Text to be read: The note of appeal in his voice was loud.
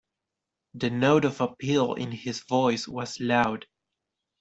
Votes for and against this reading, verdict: 2, 0, accepted